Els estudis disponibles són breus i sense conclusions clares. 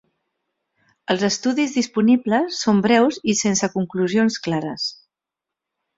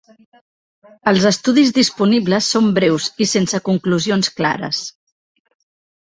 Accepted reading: first